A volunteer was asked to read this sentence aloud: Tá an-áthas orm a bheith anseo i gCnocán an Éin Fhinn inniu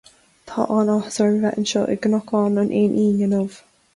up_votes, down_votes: 2, 0